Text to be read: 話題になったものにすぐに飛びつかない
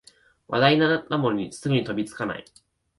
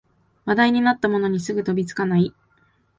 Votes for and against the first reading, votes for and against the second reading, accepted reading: 2, 0, 0, 2, first